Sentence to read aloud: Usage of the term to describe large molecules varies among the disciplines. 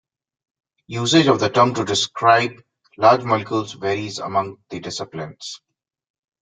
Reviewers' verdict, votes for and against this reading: accepted, 2, 0